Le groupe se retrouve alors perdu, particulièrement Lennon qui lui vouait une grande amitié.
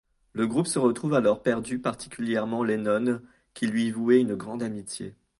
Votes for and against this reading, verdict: 2, 0, accepted